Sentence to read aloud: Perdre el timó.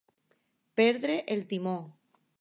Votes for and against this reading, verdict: 2, 0, accepted